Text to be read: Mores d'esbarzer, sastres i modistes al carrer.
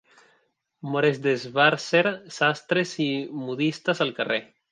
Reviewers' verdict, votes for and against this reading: rejected, 0, 2